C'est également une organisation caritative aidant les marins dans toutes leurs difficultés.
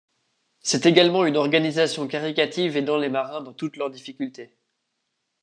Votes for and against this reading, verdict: 2, 1, accepted